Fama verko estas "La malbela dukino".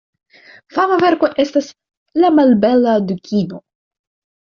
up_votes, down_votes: 2, 0